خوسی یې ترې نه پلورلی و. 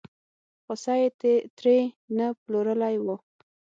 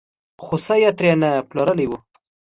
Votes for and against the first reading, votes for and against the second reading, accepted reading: 3, 6, 2, 0, second